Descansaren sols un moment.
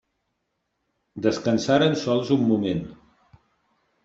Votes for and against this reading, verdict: 2, 0, accepted